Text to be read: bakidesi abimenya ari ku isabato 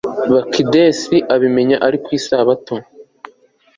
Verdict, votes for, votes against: accepted, 2, 0